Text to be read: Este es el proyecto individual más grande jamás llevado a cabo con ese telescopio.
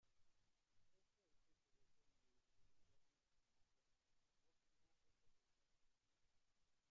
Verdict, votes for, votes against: rejected, 0, 2